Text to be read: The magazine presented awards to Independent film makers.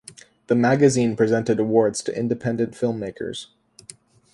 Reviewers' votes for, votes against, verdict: 2, 0, accepted